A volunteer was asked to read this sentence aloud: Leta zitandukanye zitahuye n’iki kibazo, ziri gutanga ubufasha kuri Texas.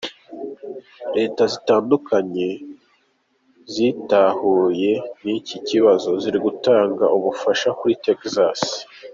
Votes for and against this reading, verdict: 2, 0, accepted